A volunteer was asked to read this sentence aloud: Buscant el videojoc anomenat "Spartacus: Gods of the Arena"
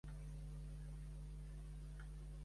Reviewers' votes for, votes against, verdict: 1, 2, rejected